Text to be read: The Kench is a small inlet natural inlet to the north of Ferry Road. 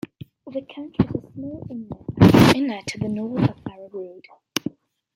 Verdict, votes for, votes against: rejected, 0, 2